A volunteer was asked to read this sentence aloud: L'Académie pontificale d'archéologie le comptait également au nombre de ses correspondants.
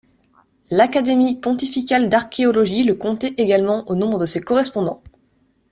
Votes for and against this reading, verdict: 2, 0, accepted